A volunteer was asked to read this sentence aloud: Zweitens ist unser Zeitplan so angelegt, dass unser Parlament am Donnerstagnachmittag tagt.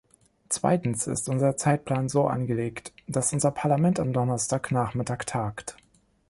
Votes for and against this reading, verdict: 2, 0, accepted